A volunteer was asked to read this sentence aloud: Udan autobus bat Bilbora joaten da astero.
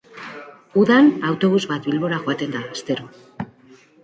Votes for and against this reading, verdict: 2, 0, accepted